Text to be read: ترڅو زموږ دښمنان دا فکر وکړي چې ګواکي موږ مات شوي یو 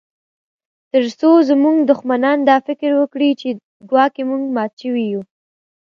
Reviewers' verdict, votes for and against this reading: accepted, 2, 0